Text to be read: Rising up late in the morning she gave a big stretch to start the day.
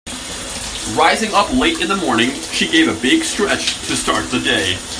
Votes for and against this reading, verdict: 3, 0, accepted